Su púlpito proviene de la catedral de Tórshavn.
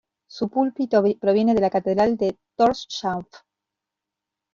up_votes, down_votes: 0, 2